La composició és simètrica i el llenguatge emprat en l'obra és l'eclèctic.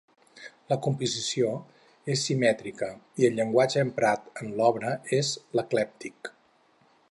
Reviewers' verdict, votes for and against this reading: accepted, 4, 0